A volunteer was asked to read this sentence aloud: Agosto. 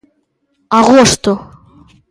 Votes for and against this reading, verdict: 2, 0, accepted